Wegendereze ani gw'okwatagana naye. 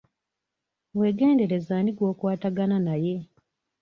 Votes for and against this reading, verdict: 2, 1, accepted